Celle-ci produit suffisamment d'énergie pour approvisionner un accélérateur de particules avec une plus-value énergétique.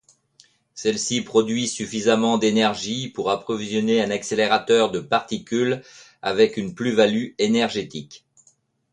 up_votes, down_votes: 2, 0